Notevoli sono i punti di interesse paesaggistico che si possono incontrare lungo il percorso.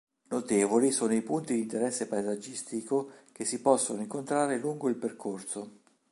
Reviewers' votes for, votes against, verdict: 2, 0, accepted